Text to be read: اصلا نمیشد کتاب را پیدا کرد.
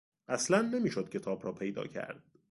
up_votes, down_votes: 2, 0